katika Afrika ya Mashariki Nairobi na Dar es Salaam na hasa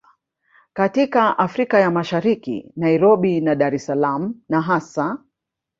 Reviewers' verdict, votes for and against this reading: rejected, 1, 2